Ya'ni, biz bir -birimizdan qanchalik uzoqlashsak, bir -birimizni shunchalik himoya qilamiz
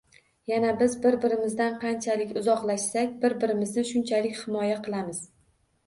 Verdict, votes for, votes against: rejected, 1, 2